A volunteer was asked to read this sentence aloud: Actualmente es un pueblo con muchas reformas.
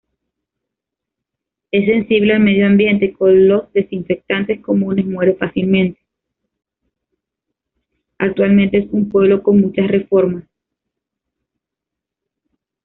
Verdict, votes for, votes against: rejected, 0, 2